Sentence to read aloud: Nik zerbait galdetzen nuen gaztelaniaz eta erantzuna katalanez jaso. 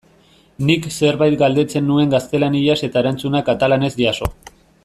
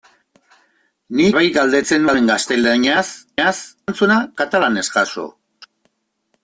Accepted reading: first